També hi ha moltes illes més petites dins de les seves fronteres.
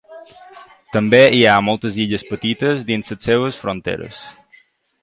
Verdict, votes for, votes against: rejected, 0, 2